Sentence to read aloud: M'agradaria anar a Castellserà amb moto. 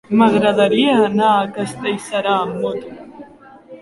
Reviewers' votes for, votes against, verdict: 0, 2, rejected